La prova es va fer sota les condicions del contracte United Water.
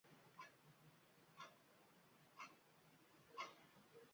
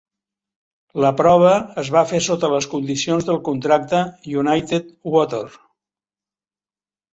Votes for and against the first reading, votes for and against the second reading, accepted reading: 0, 2, 4, 0, second